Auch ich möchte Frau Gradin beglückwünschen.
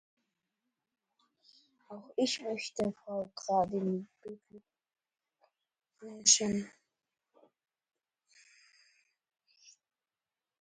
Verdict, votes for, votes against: rejected, 0, 2